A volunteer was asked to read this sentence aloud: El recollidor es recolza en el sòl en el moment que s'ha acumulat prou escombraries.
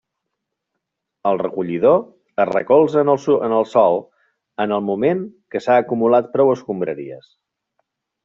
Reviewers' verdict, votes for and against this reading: rejected, 0, 2